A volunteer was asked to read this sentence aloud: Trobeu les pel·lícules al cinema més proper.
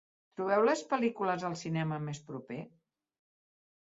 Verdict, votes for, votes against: rejected, 0, 2